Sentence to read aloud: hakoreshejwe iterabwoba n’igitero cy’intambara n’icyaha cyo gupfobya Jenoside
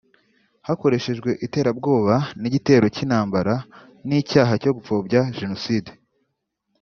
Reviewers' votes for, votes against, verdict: 3, 0, accepted